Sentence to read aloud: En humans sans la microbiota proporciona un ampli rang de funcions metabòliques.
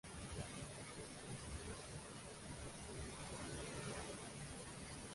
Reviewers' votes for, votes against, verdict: 0, 2, rejected